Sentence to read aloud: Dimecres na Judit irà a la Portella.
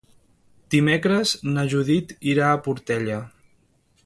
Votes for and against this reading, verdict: 1, 2, rejected